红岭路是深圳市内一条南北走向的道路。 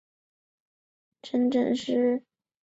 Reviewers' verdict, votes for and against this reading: rejected, 1, 3